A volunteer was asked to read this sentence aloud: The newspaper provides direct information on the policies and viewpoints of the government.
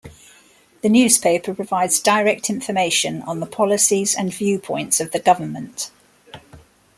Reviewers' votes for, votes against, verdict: 2, 0, accepted